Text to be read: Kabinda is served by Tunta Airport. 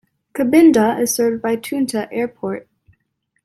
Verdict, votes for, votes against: accepted, 2, 0